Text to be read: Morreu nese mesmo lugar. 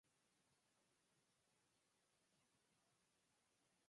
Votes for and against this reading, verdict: 0, 4, rejected